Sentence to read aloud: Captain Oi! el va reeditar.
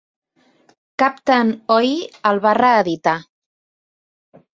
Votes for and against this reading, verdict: 2, 1, accepted